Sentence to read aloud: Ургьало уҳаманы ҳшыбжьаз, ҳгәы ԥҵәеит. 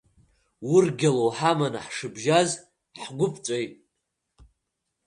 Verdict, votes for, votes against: rejected, 1, 2